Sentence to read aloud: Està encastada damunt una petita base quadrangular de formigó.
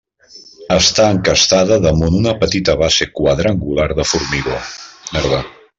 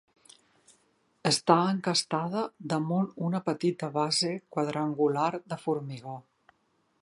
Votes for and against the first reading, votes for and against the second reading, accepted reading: 0, 2, 6, 0, second